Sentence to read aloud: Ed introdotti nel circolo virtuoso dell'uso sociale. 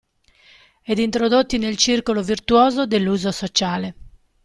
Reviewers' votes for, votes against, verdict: 2, 0, accepted